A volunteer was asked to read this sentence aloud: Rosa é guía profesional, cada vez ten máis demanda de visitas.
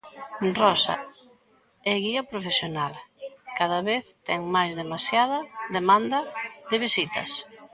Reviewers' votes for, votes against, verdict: 0, 2, rejected